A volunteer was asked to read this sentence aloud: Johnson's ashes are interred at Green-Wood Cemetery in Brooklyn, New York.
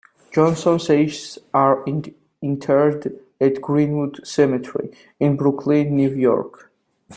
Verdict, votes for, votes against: rejected, 1, 2